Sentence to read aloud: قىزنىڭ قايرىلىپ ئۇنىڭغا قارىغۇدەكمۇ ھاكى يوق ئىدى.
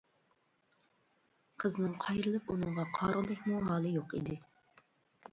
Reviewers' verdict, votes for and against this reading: accepted, 2, 1